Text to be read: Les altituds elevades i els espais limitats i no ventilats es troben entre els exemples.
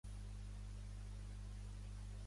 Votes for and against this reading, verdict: 0, 2, rejected